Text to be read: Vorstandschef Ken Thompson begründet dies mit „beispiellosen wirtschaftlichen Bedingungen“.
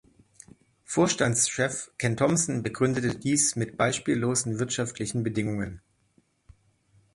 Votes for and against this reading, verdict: 1, 2, rejected